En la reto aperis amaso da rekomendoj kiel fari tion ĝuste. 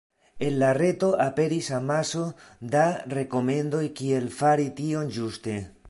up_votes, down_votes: 2, 1